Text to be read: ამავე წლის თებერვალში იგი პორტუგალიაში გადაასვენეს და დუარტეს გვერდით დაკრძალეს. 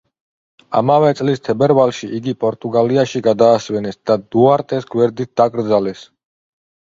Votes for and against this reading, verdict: 2, 0, accepted